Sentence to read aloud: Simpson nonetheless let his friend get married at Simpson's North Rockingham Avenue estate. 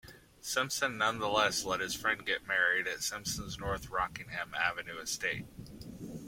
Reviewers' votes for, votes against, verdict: 2, 0, accepted